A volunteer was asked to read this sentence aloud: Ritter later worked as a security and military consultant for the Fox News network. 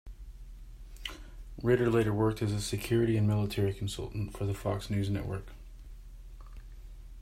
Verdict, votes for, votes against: accepted, 2, 0